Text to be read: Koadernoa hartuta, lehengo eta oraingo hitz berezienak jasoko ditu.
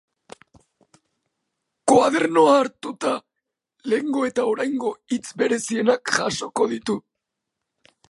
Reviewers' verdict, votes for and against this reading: accepted, 2, 1